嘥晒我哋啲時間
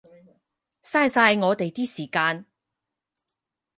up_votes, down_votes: 4, 0